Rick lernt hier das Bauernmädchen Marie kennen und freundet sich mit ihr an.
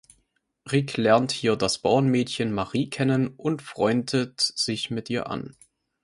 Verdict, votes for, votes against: accepted, 2, 0